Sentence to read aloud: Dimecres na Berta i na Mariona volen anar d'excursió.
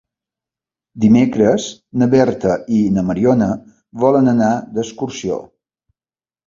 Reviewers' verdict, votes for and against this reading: accepted, 2, 0